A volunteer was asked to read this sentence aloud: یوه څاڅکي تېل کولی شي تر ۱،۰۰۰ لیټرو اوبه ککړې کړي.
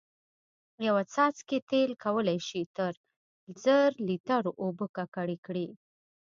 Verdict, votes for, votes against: rejected, 0, 2